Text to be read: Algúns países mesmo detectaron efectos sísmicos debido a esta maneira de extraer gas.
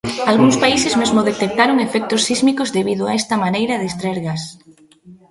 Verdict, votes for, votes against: rejected, 1, 2